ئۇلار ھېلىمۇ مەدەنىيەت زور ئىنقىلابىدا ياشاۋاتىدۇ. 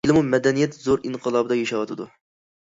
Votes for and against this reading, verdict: 0, 2, rejected